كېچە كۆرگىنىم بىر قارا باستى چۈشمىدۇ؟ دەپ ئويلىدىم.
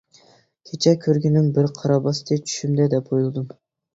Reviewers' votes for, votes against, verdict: 1, 2, rejected